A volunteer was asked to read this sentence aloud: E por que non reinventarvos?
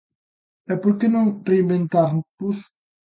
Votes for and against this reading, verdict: 0, 2, rejected